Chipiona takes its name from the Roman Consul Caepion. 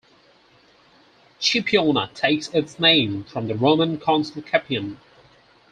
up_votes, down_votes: 0, 4